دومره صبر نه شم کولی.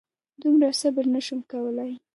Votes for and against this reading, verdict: 3, 2, accepted